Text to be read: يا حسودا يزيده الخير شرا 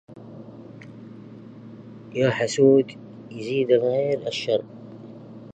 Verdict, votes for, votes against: rejected, 0, 2